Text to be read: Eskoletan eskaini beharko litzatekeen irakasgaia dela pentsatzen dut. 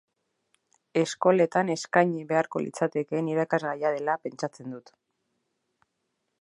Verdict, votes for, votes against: accepted, 2, 0